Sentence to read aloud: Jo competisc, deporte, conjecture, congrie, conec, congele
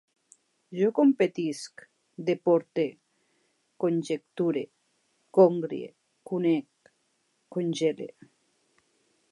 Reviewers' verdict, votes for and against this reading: accepted, 3, 1